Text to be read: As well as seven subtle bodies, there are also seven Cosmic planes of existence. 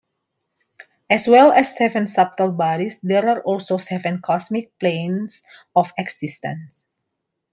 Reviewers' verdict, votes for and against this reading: accepted, 3, 0